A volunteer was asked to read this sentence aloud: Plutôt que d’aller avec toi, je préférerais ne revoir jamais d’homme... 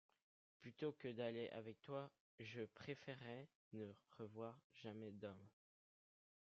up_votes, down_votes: 1, 2